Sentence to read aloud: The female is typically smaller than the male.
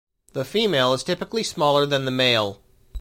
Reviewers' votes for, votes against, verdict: 2, 0, accepted